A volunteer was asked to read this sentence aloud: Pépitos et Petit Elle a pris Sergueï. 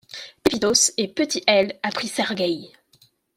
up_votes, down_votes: 0, 2